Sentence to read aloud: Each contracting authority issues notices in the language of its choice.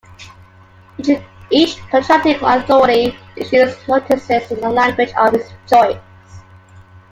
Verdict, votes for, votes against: accepted, 2, 0